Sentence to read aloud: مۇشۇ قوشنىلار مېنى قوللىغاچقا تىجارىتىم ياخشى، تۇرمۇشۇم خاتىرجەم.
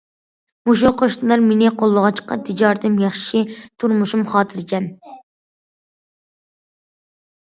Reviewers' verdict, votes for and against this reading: accepted, 2, 0